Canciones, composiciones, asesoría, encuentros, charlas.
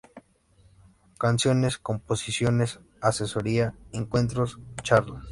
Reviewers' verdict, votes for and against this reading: accepted, 2, 0